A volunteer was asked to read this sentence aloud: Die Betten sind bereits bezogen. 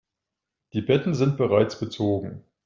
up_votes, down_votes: 2, 0